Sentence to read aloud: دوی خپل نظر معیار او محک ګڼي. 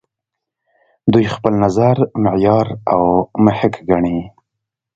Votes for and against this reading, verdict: 2, 0, accepted